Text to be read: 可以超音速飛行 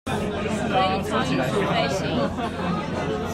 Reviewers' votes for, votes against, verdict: 1, 2, rejected